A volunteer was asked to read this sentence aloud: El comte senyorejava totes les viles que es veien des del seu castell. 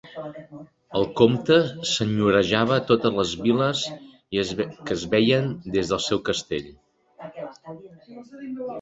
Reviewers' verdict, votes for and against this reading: rejected, 1, 2